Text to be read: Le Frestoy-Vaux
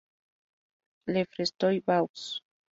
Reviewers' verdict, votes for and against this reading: accepted, 2, 0